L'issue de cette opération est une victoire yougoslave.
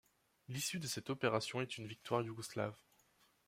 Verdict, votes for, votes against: accepted, 2, 0